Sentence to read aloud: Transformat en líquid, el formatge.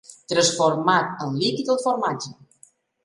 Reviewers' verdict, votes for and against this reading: accepted, 3, 0